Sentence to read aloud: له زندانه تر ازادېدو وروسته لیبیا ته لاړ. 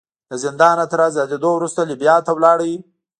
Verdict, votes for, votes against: rejected, 1, 2